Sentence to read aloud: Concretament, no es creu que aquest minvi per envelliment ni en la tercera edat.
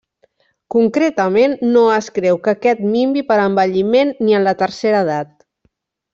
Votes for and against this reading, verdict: 3, 0, accepted